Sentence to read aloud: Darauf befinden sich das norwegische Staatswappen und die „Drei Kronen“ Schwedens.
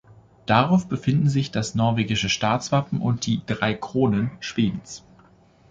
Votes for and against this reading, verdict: 2, 1, accepted